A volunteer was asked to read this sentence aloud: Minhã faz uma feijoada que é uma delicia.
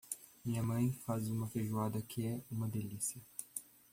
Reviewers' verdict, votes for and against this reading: rejected, 0, 2